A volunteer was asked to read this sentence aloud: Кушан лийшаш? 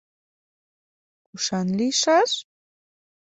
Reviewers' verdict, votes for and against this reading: accepted, 2, 0